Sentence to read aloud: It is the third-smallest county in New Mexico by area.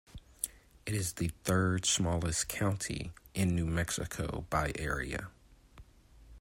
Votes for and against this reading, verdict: 2, 0, accepted